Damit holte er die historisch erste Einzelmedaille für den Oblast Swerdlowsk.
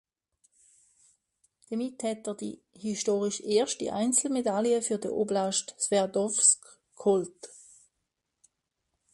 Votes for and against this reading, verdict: 0, 2, rejected